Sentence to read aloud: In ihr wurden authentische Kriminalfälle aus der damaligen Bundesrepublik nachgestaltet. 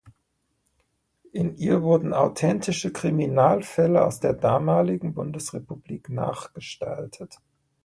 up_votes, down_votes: 2, 0